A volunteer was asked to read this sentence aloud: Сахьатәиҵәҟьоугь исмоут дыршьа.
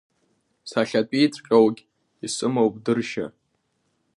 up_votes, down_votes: 1, 2